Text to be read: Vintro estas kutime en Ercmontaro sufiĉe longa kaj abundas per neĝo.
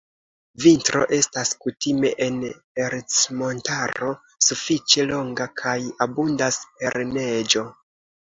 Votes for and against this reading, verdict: 2, 0, accepted